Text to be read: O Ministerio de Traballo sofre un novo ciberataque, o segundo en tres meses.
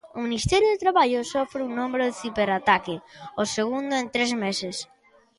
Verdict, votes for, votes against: rejected, 0, 3